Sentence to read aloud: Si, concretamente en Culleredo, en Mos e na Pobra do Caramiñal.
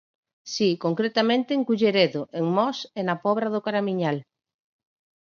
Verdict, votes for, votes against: accepted, 4, 0